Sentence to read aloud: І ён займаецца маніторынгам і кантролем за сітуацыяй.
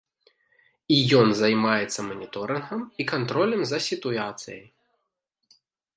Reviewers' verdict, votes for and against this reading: rejected, 0, 2